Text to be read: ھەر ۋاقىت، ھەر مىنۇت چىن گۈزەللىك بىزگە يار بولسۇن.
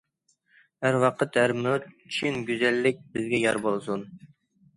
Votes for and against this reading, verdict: 2, 0, accepted